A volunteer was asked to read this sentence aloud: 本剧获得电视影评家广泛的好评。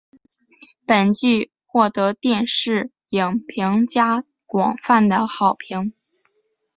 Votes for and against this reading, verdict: 8, 1, accepted